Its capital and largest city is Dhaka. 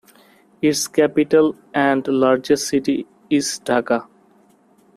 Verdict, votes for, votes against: accepted, 2, 0